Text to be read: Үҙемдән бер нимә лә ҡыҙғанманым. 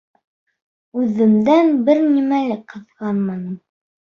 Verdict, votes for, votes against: accepted, 2, 1